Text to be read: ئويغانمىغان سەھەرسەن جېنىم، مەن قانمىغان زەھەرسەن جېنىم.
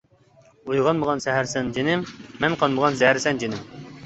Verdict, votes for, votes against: accepted, 2, 0